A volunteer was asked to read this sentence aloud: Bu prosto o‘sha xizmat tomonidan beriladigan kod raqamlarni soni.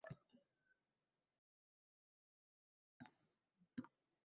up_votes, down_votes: 0, 2